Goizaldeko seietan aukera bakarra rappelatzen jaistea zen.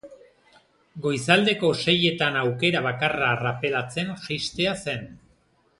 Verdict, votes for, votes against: rejected, 1, 2